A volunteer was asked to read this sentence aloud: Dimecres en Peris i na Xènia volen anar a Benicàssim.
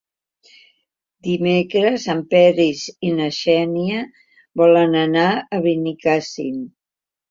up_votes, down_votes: 2, 0